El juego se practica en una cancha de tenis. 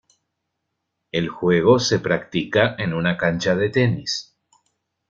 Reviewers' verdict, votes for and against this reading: accepted, 2, 0